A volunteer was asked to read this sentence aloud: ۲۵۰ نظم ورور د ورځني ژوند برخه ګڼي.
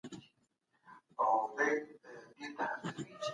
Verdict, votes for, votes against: rejected, 0, 2